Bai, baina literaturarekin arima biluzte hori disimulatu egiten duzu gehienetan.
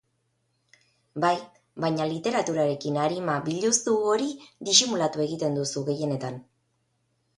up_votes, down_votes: 2, 2